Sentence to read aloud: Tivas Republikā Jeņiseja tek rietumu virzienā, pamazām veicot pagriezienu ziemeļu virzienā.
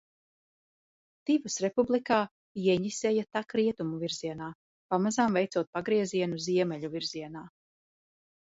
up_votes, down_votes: 2, 0